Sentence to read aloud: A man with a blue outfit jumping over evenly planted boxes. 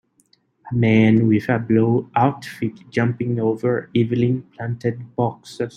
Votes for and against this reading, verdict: 2, 3, rejected